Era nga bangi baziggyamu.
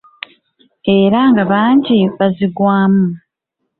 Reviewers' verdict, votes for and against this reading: rejected, 0, 2